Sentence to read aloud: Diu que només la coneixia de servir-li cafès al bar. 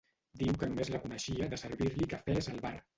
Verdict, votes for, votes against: rejected, 0, 2